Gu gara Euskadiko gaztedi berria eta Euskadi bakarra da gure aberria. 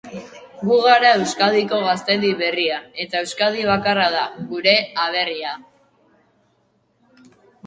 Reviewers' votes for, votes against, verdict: 2, 0, accepted